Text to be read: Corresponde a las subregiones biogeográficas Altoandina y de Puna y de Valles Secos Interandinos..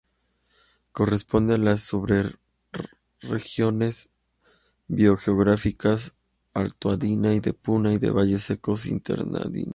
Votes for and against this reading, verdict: 0, 2, rejected